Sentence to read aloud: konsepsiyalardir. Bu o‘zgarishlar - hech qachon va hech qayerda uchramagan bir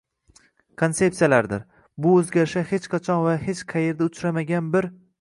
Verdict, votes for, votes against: rejected, 1, 2